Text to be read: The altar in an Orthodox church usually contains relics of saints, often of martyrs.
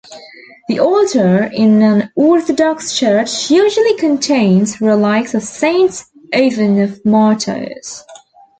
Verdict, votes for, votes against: rejected, 1, 2